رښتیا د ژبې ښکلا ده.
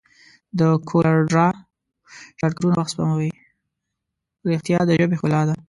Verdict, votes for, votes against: rejected, 1, 2